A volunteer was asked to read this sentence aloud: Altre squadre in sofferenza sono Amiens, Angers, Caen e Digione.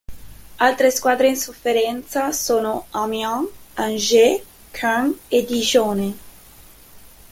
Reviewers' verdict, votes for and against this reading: accepted, 2, 1